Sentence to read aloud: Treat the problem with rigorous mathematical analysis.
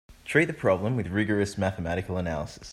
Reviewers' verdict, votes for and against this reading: accepted, 2, 0